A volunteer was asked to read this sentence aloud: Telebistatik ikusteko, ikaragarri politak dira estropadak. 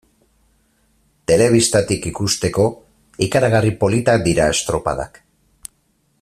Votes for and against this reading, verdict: 4, 0, accepted